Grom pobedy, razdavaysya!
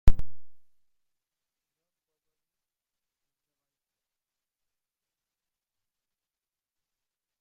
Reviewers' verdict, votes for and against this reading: rejected, 0, 2